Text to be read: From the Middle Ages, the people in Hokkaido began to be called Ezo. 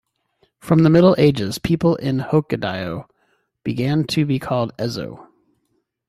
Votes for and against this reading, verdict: 1, 2, rejected